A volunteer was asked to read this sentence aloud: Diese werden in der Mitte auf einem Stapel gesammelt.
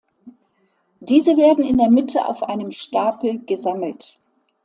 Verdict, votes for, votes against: accepted, 2, 0